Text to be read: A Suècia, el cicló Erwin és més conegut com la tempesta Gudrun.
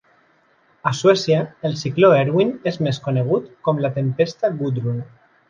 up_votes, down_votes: 2, 0